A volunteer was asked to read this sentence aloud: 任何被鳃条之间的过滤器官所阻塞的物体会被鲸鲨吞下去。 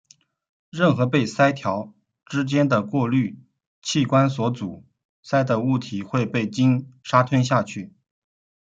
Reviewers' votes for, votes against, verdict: 2, 0, accepted